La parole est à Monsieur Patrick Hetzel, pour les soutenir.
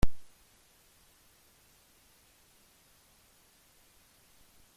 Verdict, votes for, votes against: rejected, 0, 2